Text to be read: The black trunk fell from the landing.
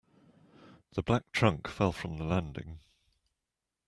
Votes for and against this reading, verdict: 2, 0, accepted